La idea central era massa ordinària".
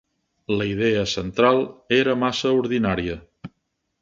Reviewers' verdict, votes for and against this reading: accepted, 5, 0